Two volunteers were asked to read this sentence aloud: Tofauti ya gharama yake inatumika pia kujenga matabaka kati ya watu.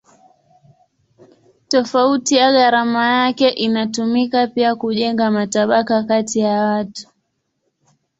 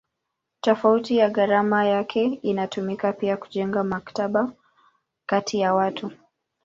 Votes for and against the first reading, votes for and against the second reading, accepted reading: 3, 3, 2, 0, second